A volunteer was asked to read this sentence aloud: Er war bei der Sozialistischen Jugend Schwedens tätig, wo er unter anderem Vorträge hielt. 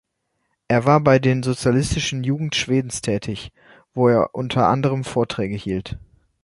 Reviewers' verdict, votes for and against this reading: rejected, 1, 2